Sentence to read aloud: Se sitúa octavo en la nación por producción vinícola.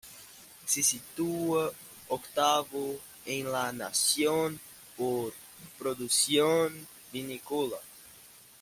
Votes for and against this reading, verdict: 2, 0, accepted